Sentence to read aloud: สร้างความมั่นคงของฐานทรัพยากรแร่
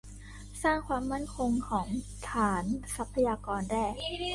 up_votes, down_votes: 1, 2